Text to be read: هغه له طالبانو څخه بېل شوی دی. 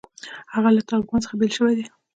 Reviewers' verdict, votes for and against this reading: accepted, 2, 0